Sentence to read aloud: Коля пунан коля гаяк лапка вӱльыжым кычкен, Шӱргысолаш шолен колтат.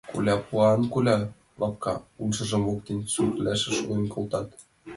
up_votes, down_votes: 1, 2